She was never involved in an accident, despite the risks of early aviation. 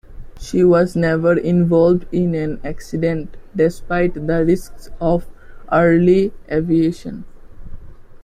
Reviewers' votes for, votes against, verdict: 2, 1, accepted